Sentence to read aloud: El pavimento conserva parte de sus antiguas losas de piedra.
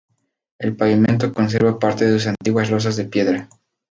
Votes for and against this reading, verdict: 2, 0, accepted